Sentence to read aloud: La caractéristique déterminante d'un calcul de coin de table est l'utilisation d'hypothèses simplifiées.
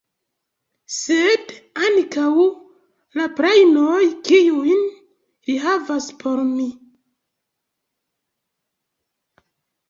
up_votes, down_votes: 0, 2